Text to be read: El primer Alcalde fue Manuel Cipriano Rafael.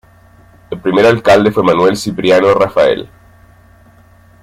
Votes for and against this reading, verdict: 1, 2, rejected